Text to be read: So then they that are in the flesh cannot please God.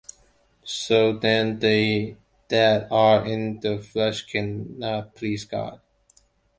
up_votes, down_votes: 2, 1